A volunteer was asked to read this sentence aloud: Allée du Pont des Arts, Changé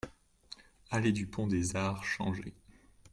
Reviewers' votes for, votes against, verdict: 2, 0, accepted